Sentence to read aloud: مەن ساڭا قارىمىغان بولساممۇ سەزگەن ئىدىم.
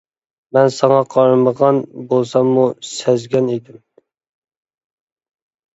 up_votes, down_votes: 2, 0